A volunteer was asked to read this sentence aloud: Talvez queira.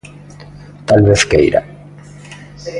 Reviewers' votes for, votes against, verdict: 3, 0, accepted